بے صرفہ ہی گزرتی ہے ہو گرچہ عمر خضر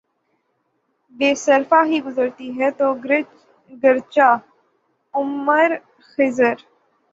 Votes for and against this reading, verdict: 0, 6, rejected